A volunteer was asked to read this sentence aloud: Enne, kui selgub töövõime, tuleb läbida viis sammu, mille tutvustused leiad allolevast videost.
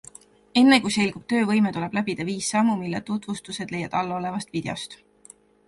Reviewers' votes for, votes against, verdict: 2, 0, accepted